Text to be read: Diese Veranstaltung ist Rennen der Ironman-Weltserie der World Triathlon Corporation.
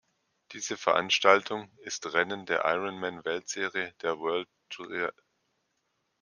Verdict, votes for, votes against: rejected, 0, 2